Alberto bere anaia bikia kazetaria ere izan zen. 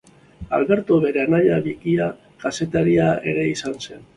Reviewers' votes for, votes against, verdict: 2, 1, accepted